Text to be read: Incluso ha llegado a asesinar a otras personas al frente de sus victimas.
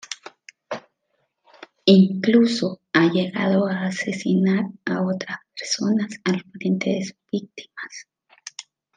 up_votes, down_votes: 1, 2